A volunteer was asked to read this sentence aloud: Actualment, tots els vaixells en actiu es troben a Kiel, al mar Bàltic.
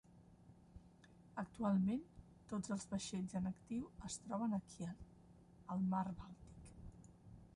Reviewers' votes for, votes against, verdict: 0, 2, rejected